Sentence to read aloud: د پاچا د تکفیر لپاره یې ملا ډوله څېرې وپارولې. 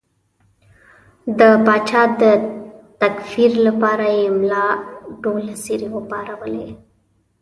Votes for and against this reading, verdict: 2, 0, accepted